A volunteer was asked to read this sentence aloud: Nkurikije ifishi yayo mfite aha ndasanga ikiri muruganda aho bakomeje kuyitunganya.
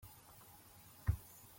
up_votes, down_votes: 0, 2